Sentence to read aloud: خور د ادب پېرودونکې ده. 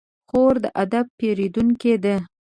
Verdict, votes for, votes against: accepted, 2, 0